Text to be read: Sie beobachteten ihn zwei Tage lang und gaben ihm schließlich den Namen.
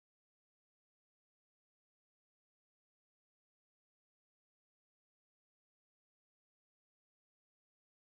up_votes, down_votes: 0, 2